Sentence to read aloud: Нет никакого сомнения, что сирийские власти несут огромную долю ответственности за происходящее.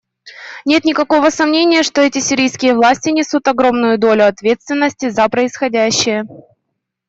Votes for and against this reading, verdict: 0, 2, rejected